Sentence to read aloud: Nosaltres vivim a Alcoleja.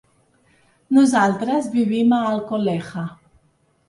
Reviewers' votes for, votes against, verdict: 0, 2, rejected